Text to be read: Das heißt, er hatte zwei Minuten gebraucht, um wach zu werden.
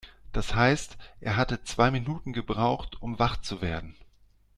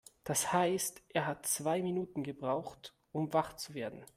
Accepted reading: first